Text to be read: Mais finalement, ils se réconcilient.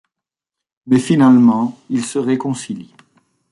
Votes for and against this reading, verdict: 2, 0, accepted